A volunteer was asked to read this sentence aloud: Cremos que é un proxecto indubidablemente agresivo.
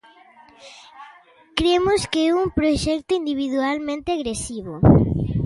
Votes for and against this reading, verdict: 0, 2, rejected